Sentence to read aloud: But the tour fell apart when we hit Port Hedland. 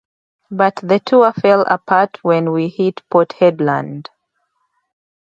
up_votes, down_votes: 2, 0